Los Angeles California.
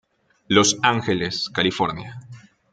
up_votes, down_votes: 2, 0